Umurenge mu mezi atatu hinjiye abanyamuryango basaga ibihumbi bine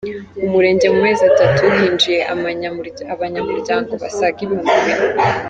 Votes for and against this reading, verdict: 0, 2, rejected